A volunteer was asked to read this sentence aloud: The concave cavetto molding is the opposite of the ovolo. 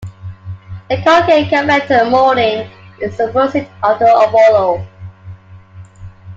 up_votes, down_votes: 0, 2